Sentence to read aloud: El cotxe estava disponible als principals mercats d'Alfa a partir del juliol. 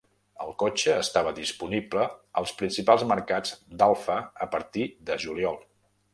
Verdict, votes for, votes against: rejected, 1, 2